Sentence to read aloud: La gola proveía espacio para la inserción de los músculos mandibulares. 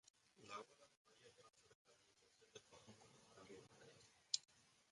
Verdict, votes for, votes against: rejected, 0, 2